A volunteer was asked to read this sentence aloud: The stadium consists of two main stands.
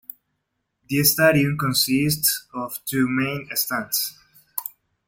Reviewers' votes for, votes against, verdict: 0, 2, rejected